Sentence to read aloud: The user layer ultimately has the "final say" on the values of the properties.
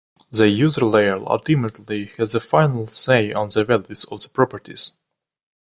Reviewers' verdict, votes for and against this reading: rejected, 1, 2